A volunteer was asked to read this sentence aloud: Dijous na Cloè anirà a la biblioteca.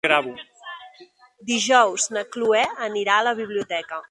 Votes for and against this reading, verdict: 0, 2, rejected